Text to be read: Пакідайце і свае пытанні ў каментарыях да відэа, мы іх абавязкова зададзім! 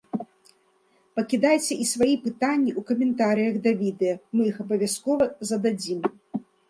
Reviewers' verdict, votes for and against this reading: rejected, 1, 2